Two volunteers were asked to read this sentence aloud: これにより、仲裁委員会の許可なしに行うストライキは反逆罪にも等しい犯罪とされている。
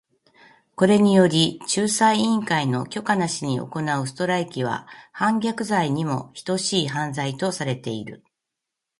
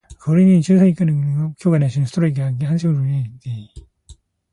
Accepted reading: first